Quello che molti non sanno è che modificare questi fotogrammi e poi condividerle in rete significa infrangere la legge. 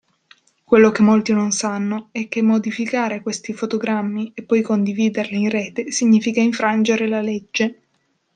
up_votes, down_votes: 1, 2